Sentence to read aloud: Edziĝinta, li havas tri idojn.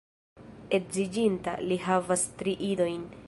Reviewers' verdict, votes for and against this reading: accepted, 2, 1